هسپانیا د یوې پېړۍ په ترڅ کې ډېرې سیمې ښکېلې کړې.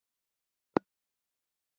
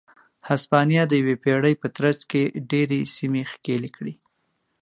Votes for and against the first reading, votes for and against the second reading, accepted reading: 0, 2, 2, 0, second